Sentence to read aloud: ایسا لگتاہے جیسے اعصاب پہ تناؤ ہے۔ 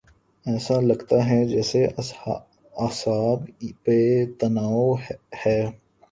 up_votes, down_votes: 0, 2